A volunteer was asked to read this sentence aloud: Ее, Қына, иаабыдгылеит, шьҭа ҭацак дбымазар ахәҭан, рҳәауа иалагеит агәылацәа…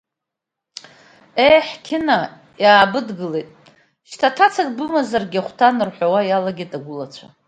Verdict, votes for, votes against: rejected, 1, 2